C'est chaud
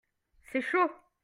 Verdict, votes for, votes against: accepted, 2, 0